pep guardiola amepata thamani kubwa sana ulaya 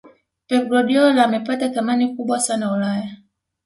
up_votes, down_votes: 2, 0